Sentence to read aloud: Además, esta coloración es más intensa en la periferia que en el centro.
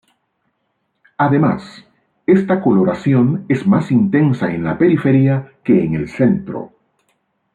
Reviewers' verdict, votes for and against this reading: accepted, 2, 0